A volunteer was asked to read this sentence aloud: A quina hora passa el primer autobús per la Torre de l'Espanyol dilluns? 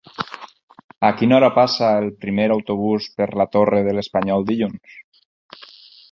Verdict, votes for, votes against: rejected, 0, 4